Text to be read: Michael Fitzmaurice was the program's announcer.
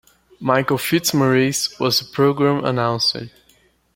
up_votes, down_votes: 2, 0